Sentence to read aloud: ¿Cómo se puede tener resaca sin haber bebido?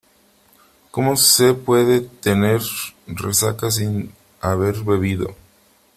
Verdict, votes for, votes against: rejected, 2, 3